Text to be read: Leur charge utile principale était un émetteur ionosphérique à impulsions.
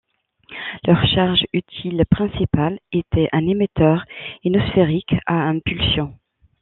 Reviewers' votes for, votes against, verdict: 1, 2, rejected